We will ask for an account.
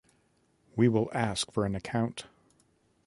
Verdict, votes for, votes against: accepted, 2, 0